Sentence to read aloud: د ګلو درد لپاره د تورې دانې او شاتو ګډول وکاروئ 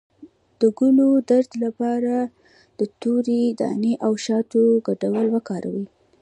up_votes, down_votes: 1, 2